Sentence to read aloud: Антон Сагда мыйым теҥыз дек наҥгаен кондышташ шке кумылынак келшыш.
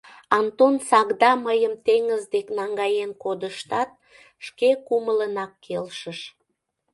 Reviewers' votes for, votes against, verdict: 0, 2, rejected